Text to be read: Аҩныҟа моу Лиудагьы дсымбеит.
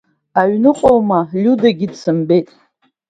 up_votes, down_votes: 2, 0